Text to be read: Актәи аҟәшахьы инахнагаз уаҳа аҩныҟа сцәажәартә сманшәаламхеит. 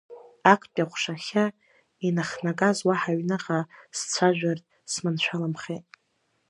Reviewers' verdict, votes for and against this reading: accepted, 2, 0